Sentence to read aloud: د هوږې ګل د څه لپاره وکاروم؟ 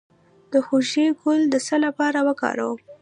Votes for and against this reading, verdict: 1, 2, rejected